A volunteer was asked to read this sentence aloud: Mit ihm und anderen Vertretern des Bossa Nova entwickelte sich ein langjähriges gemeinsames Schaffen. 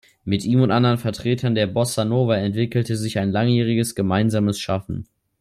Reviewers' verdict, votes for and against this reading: rejected, 0, 2